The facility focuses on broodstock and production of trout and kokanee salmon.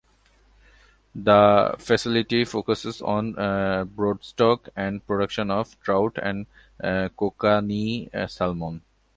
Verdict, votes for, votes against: accepted, 2, 0